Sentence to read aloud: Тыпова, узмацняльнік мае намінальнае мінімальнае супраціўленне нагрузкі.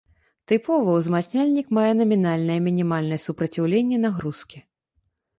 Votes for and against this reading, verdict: 2, 0, accepted